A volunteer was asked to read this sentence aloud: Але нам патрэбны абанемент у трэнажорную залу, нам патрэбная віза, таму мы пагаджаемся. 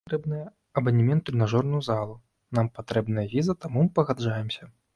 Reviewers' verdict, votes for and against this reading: rejected, 0, 2